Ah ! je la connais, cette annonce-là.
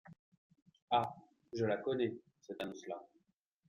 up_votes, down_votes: 2, 0